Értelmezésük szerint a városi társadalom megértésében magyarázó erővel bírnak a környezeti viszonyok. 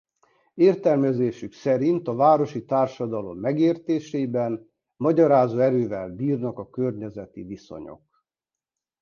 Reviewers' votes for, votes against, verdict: 2, 0, accepted